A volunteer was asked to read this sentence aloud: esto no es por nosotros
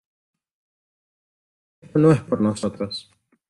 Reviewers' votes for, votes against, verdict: 0, 2, rejected